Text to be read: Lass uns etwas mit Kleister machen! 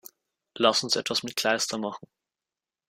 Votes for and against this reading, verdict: 2, 0, accepted